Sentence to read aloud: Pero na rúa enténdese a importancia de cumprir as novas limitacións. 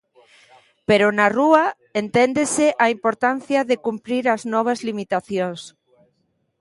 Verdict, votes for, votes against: rejected, 1, 2